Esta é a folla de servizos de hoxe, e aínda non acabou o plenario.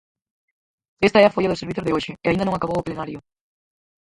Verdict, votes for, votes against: rejected, 0, 4